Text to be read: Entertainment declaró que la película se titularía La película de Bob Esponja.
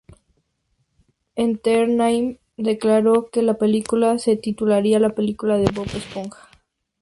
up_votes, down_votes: 0, 4